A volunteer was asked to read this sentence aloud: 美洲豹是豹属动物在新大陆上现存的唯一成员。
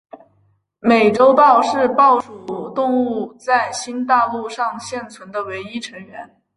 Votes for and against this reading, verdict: 10, 0, accepted